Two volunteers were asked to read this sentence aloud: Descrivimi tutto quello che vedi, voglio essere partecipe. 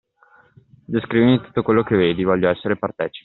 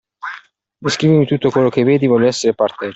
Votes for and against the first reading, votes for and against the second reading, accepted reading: 2, 0, 1, 2, first